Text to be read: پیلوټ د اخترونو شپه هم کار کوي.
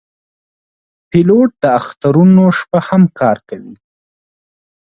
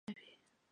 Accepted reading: first